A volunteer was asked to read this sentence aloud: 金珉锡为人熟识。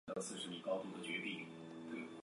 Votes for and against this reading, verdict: 0, 4, rejected